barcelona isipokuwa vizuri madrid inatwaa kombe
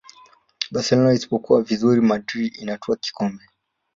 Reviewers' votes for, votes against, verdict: 1, 2, rejected